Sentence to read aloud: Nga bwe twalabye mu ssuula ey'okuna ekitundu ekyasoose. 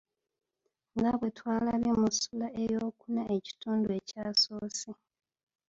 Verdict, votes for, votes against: rejected, 1, 2